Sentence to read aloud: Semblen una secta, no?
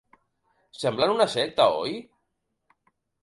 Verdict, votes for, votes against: rejected, 0, 2